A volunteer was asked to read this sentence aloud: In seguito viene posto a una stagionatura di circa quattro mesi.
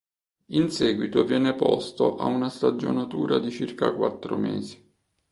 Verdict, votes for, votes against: accepted, 3, 0